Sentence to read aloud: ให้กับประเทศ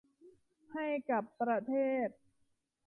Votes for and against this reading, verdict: 2, 0, accepted